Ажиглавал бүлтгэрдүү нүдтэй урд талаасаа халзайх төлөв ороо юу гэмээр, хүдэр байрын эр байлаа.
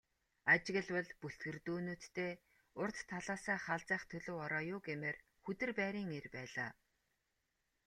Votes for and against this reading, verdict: 2, 0, accepted